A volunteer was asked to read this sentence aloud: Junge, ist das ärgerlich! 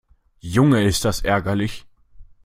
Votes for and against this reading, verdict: 2, 0, accepted